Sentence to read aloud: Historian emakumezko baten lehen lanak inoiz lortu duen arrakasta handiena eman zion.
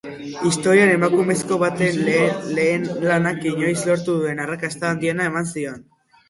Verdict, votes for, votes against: rejected, 0, 2